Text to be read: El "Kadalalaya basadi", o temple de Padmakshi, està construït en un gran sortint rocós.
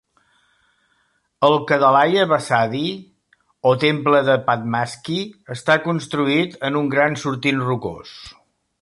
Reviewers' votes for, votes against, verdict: 0, 2, rejected